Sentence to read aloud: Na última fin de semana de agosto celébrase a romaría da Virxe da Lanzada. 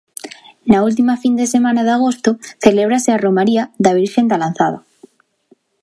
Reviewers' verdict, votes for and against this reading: rejected, 1, 2